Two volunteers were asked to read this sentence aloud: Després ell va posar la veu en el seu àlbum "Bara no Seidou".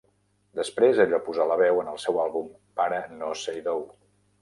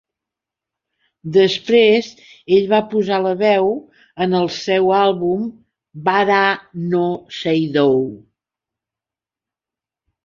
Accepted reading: second